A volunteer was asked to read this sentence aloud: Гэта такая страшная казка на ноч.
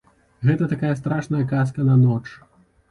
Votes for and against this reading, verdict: 2, 0, accepted